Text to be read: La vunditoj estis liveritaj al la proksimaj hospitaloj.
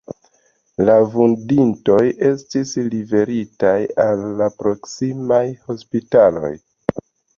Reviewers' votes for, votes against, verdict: 2, 0, accepted